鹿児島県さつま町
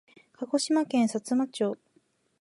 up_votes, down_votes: 2, 0